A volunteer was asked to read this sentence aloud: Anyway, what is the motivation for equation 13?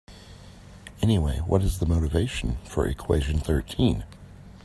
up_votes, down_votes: 0, 2